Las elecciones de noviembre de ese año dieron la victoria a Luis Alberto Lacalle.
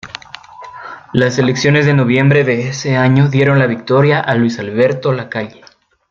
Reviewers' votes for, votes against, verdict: 2, 0, accepted